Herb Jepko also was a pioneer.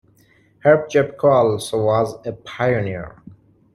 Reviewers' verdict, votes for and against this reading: rejected, 1, 2